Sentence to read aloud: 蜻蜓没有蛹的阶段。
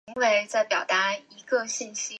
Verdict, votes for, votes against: rejected, 1, 2